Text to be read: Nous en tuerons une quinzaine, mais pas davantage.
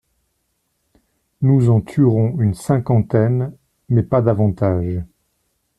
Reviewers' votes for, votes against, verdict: 1, 2, rejected